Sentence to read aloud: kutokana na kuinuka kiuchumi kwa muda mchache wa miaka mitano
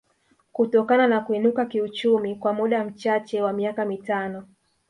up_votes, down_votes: 6, 0